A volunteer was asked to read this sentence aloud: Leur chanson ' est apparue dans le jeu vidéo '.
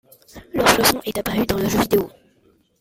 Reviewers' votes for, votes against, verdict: 0, 2, rejected